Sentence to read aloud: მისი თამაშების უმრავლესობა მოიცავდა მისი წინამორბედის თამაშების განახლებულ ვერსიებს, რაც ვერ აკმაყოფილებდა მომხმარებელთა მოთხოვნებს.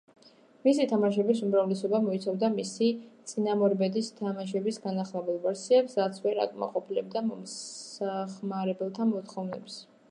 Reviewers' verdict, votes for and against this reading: rejected, 0, 2